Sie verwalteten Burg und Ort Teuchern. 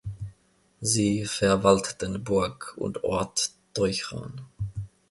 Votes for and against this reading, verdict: 2, 0, accepted